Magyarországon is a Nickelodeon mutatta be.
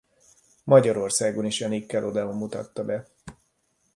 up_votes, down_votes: 2, 0